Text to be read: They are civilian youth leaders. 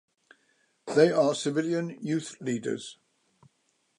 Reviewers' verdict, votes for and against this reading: accepted, 2, 0